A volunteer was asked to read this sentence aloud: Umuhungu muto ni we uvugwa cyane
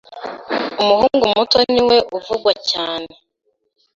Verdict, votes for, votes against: accepted, 2, 0